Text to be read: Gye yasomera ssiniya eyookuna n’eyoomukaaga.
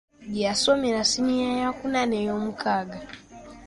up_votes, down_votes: 2, 1